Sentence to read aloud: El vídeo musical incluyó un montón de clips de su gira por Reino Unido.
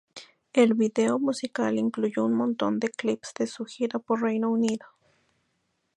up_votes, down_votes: 2, 0